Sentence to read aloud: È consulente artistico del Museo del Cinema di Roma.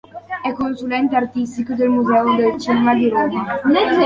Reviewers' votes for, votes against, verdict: 1, 2, rejected